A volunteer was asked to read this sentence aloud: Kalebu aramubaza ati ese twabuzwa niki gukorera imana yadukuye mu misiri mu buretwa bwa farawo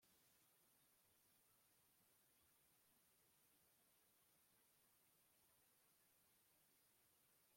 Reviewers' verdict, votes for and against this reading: rejected, 1, 2